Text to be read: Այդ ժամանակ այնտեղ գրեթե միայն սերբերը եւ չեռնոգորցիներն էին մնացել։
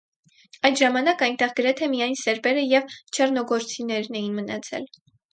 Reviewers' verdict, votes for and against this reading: rejected, 0, 2